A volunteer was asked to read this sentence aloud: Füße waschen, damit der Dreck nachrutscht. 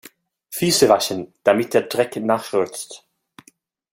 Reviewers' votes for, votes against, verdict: 0, 2, rejected